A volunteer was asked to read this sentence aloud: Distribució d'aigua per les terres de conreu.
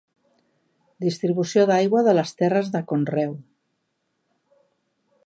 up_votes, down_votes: 1, 2